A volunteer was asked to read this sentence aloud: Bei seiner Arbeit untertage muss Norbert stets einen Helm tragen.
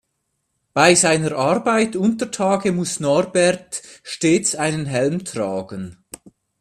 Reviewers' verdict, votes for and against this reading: accepted, 2, 0